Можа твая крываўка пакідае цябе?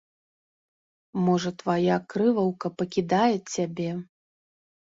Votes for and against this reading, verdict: 2, 4, rejected